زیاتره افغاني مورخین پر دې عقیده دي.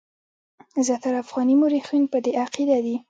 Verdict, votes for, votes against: accepted, 2, 1